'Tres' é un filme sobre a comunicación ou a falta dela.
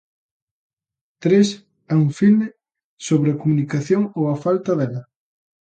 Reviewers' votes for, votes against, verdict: 2, 0, accepted